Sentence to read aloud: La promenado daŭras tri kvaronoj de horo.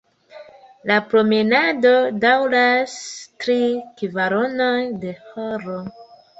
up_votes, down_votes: 4, 0